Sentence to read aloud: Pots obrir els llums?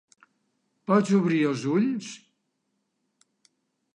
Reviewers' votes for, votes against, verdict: 0, 2, rejected